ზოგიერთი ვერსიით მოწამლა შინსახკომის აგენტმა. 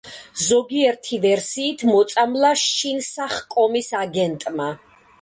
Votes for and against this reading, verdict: 2, 1, accepted